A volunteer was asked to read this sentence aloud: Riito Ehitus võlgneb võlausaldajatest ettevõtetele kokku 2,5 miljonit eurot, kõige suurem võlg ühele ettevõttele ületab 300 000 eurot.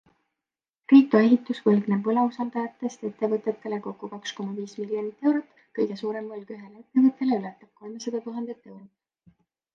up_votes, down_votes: 0, 2